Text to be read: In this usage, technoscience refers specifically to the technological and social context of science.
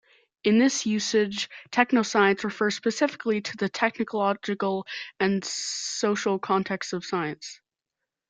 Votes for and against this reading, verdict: 0, 2, rejected